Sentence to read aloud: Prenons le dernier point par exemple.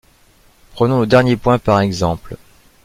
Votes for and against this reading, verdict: 2, 0, accepted